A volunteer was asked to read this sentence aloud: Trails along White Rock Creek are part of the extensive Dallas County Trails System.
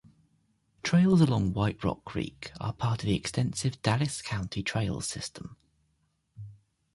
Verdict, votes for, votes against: accepted, 2, 0